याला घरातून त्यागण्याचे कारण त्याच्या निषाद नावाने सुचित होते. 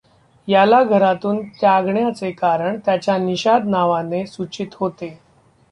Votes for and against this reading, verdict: 2, 0, accepted